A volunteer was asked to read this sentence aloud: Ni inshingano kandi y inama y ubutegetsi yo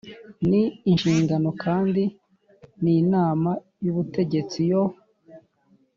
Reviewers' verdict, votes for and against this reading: accepted, 2, 0